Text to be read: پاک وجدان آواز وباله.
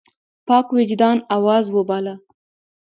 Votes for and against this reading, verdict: 2, 0, accepted